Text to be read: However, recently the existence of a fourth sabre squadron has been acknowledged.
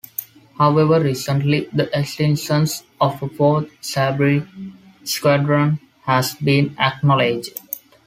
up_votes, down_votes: 1, 2